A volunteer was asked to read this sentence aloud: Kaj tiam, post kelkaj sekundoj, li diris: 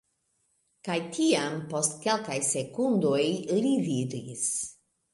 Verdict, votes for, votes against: accepted, 2, 0